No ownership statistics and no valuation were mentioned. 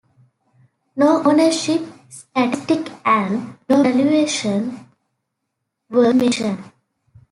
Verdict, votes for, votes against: rejected, 1, 2